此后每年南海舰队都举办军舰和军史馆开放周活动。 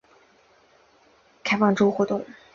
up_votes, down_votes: 0, 3